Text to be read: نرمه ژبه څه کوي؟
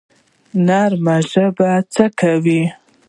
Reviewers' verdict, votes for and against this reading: rejected, 0, 2